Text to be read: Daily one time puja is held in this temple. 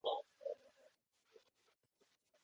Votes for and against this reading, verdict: 0, 2, rejected